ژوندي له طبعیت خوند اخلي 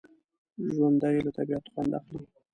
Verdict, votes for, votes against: rejected, 1, 2